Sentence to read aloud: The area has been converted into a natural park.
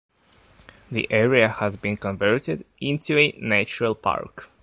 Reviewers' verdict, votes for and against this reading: accepted, 2, 1